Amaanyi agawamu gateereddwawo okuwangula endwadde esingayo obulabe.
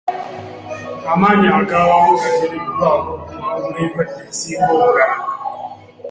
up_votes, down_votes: 0, 2